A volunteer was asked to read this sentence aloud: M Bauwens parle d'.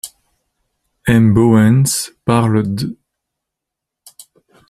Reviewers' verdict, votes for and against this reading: rejected, 1, 2